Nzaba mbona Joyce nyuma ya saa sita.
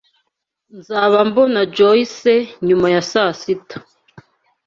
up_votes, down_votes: 2, 0